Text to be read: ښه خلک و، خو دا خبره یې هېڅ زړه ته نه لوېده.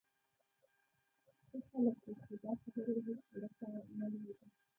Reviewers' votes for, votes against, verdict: 1, 2, rejected